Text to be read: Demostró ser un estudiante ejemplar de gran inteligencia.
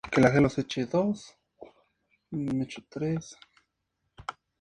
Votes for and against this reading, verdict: 0, 2, rejected